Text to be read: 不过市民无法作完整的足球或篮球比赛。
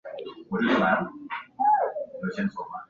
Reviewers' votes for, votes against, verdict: 0, 4, rejected